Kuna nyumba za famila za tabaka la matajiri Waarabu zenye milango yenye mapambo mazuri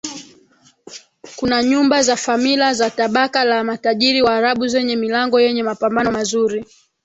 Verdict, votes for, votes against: rejected, 0, 2